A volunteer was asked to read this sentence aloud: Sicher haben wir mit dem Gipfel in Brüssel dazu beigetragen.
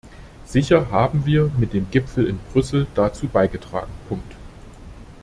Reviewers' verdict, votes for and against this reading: rejected, 0, 2